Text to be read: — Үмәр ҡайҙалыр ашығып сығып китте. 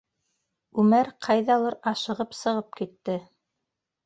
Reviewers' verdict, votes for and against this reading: rejected, 1, 2